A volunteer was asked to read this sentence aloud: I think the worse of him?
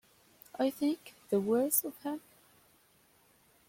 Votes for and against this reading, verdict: 2, 1, accepted